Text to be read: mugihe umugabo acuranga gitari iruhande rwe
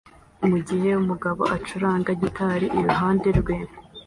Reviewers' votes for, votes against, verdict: 2, 0, accepted